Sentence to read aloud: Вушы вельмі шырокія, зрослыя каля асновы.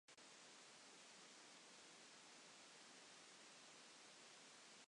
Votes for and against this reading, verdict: 0, 2, rejected